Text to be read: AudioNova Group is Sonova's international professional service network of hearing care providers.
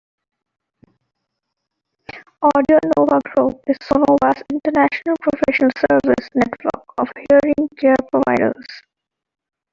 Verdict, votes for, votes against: accepted, 2, 0